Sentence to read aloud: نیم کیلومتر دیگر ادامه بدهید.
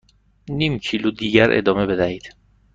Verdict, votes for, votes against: rejected, 1, 2